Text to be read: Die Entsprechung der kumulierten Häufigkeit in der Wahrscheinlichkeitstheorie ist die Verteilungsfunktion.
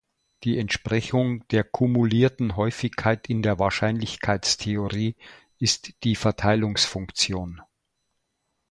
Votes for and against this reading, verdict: 2, 0, accepted